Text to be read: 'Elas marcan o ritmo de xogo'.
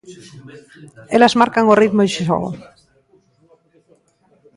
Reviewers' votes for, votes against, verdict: 0, 2, rejected